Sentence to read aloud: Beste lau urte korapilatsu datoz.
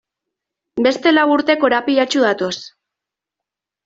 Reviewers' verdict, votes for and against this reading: accepted, 2, 0